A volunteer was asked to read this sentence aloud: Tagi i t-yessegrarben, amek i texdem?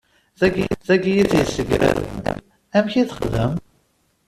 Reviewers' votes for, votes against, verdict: 1, 2, rejected